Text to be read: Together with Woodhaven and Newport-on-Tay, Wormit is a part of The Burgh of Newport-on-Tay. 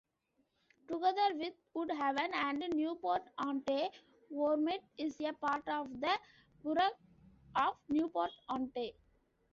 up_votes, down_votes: 1, 2